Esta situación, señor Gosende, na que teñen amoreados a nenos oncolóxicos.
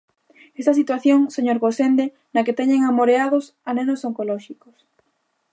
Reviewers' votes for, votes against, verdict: 2, 0, accepted